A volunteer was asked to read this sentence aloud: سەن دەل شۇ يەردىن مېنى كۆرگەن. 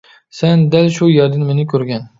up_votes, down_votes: 2, 0